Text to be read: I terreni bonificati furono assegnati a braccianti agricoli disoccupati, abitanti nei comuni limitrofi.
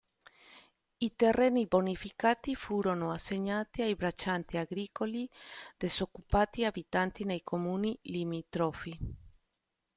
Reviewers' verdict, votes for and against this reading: accepted, 2, 0